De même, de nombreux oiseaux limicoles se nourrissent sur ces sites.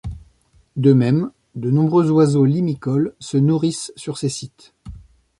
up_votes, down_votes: 2, 0